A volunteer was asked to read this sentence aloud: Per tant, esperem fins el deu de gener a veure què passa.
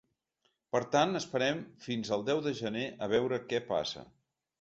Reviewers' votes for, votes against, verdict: 2, 0, accepted